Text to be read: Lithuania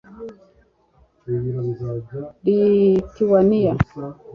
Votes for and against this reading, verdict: 1, 2, rejected